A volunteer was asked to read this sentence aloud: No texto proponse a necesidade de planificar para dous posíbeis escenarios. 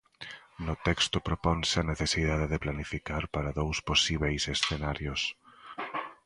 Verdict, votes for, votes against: accepted, 2, 1